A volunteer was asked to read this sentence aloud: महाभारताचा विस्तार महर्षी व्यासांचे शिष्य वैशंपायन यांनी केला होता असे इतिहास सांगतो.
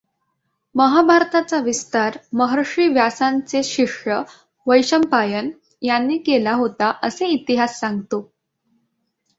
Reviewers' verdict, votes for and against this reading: accepted, 2, 0